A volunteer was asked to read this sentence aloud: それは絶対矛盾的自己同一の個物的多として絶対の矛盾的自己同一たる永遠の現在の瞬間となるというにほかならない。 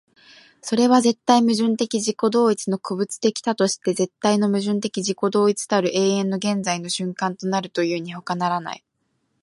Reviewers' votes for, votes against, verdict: 2, 0, accepted